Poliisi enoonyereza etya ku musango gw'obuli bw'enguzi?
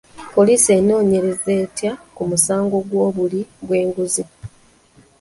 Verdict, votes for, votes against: accepted, 2, 1